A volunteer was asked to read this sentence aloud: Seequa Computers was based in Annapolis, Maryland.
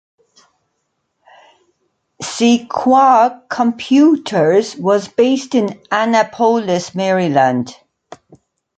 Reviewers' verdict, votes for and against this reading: rejected, 0, 2